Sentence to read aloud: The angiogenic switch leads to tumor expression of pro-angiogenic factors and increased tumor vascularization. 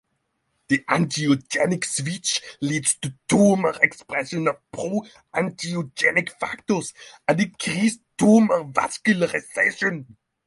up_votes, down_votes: 0, 6